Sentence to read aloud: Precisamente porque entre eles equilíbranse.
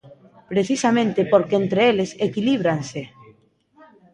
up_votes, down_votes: 1, 2